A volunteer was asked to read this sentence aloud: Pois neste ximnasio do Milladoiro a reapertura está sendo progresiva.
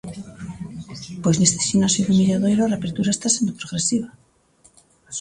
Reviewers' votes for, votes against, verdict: 2, 0, accepted